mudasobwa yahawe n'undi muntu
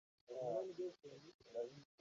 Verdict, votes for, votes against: rejected, 0, 2